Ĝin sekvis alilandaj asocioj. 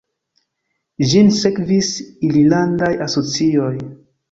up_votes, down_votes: 0, 2